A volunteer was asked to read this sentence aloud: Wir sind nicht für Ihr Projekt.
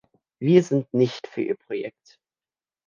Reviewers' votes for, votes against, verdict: 2, 0, accepted